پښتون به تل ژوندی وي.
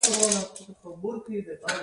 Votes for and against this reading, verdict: 1, 2, rejected